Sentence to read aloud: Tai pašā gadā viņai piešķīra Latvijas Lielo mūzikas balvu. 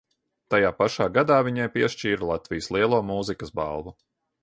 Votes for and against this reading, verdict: 2, 0, accepted